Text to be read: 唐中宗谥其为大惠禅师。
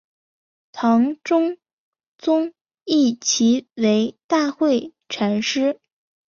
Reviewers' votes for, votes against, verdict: 1, 2, rejected